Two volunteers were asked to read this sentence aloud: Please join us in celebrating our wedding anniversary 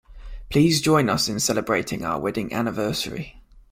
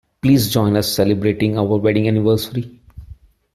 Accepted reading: first